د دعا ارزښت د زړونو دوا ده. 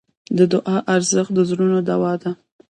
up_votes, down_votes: 0, 2